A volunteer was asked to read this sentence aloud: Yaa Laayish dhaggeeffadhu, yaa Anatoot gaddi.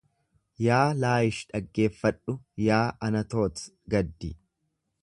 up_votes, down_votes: 2, 0